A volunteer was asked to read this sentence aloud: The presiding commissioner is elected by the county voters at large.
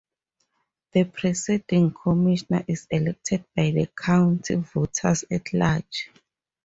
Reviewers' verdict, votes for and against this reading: rejected, 2, 2